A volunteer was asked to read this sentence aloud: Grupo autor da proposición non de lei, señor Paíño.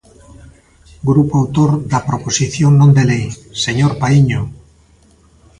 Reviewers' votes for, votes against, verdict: 2, 0, accepted